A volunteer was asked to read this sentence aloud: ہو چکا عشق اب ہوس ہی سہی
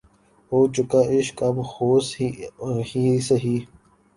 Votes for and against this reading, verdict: 2, 3, rejected